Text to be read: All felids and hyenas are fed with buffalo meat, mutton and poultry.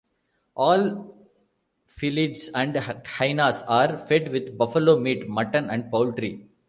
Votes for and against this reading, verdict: 0, 2, rejected